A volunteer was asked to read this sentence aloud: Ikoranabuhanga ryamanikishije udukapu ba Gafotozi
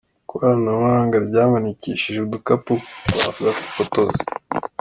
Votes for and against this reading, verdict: 2, 0, accepted